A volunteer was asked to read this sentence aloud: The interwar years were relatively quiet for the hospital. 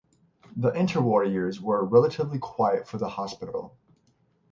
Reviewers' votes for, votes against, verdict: 6, 0, accepted